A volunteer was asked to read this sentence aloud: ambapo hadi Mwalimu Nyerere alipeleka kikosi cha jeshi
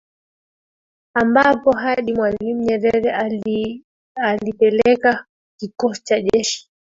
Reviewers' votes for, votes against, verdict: 1, 2, rejected